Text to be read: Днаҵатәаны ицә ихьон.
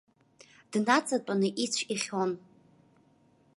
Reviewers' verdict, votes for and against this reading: accepted, 2, 0